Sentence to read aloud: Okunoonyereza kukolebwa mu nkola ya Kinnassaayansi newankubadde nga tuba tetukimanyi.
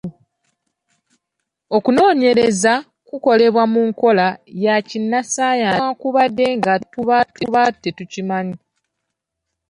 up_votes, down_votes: 1, 3